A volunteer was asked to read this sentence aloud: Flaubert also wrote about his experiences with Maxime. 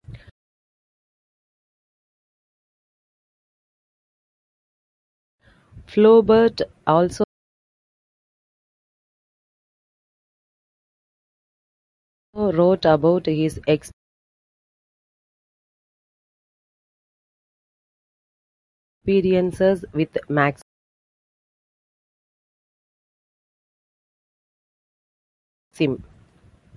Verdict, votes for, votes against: rejected, 1, 2